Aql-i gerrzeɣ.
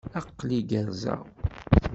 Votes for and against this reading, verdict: 2, 0, accepted